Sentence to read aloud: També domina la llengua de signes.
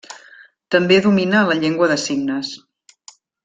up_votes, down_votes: 1, 2